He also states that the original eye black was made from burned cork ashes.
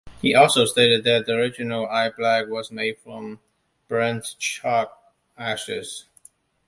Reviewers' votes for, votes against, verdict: 0, 2, rejected